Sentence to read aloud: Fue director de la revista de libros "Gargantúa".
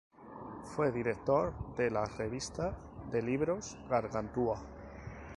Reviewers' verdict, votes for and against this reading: accepted, 2, 0